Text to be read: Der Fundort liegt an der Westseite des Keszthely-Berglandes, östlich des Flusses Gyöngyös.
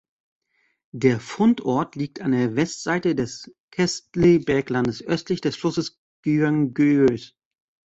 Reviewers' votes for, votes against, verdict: 0, 2, rejected